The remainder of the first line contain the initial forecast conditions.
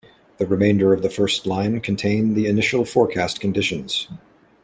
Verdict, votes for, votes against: accepted, 2, 0